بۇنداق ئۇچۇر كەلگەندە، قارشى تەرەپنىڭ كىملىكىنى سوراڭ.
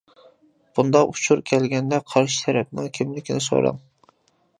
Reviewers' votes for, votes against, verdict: 2, 0, accepted